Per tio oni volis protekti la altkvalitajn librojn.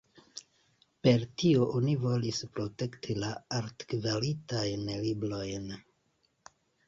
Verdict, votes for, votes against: rejected, 0, 2